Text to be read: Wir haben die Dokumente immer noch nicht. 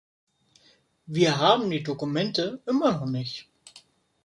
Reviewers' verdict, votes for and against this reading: accepted, 2, 1